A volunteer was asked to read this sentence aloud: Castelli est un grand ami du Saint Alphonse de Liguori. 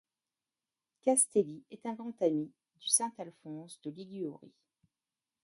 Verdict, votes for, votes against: accepted, 2, 0